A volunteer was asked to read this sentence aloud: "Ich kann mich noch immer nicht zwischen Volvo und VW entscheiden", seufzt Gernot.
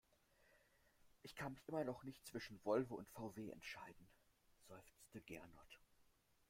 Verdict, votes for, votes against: rejected, 0, 2